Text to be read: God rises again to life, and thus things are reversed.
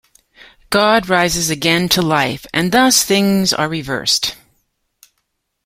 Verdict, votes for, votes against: accepted, 2, 0